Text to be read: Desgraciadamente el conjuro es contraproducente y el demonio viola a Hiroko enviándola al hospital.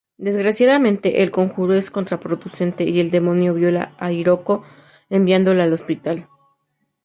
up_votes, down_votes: 2, 0